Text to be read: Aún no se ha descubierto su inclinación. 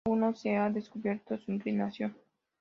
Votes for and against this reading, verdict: 2, 0, accepted